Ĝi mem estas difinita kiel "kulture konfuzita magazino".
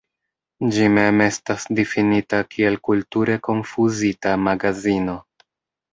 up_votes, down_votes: 1, 2